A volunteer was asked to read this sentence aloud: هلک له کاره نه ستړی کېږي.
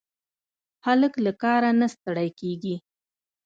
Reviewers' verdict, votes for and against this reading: rejected, 0, 2